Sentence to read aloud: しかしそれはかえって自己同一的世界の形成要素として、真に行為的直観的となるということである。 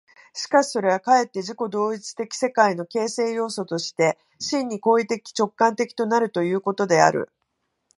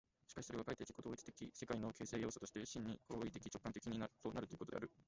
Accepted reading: first